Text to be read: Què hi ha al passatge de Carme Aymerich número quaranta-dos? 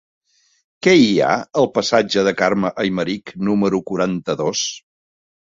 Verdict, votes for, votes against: accepted, 3, 0